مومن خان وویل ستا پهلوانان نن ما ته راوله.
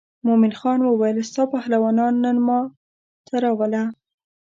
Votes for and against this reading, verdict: 3, 0, accepted